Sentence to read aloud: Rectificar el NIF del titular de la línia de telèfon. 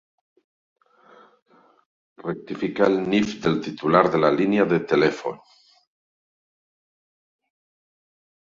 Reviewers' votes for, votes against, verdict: 4, 0, accepted